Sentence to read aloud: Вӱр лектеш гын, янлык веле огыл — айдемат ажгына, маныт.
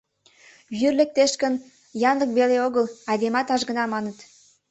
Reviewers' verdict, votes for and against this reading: accepted, 2, 0